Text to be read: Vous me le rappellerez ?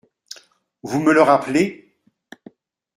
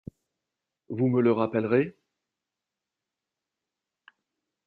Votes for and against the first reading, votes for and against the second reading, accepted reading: 1, 2, 2, 0, second